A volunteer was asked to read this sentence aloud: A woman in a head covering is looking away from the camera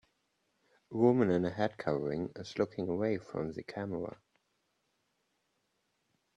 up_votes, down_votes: 2, 0